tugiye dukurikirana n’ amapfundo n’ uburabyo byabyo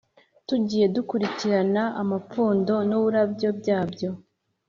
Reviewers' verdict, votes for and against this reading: accepted, 2, 0